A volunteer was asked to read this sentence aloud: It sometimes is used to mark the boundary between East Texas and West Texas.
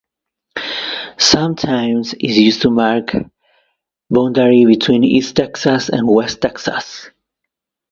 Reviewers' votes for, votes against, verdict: 0, 2, rejected